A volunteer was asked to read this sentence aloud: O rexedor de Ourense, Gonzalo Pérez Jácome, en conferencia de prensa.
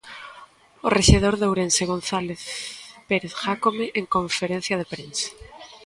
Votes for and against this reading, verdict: 0, 2, rejected